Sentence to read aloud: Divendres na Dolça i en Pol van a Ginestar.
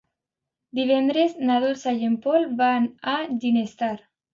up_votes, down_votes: 2, 0